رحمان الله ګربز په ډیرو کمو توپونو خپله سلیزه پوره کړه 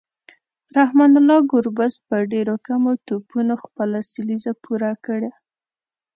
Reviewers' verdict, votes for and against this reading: accepted, 2, 0